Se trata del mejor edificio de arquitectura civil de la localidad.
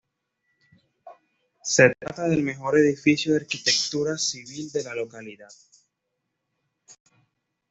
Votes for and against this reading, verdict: 2, 0, accepted